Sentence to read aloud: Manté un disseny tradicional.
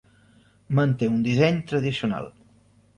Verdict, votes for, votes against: rejected, 1, 2